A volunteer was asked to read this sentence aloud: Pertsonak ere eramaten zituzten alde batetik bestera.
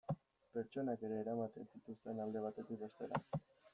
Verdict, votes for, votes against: rejected, 1, 2